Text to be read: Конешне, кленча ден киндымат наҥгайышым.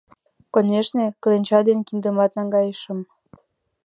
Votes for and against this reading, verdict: 2, 0, accepted